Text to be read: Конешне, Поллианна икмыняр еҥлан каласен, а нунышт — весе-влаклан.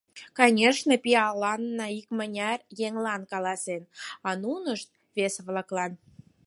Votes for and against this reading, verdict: 2, 4, rejected